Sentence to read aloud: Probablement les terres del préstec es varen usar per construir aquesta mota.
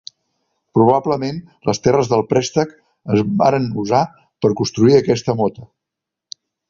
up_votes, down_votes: 2, 0